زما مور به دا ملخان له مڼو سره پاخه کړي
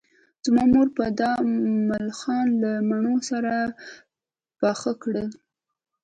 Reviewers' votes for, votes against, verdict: 1, 2, rejected